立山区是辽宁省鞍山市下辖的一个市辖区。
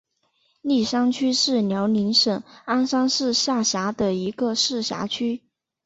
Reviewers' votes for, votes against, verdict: 4, 2, accepted